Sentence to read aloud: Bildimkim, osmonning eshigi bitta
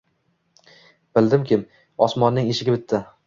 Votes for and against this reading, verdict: 1, 2, rejected